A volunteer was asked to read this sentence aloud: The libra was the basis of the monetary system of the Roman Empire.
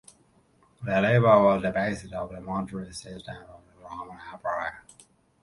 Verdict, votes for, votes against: rejected, 0, 2